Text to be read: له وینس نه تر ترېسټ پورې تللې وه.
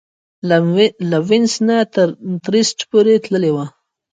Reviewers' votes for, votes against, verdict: 1, 2, rejected